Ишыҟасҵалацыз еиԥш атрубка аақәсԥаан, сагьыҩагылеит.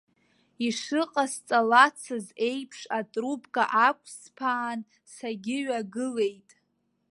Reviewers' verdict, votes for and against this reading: accepted, 2, 0